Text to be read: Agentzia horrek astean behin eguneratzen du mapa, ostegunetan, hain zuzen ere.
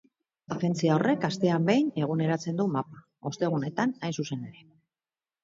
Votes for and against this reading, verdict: 2, 0, accepted